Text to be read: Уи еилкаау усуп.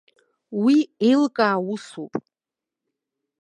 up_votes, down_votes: 2, 0